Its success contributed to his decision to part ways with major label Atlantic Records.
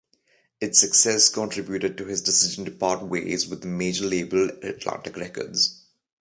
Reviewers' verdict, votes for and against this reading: accepted, 2, 0